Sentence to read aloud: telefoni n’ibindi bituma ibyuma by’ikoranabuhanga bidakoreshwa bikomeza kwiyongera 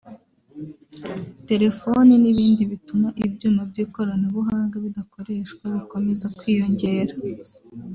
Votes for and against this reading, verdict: 0, 2, rejected